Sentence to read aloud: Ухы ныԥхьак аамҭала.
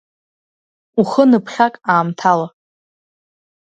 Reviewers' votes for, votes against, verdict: 2, 0, accepted